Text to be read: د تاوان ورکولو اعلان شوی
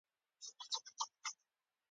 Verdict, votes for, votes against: rejected, 0, 2